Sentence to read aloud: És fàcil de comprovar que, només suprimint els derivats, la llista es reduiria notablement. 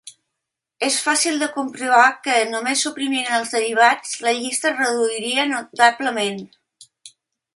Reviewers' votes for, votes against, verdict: 2, 0, accepted